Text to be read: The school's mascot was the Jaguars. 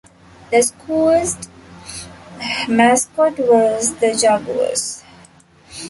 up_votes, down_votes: 0, 2